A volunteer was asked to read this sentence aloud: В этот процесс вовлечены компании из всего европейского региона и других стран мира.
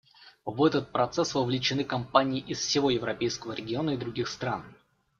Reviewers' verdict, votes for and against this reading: rejected, 0, 2